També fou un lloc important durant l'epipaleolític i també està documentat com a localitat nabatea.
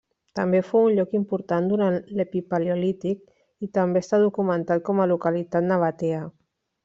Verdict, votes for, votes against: accepted, 2, 1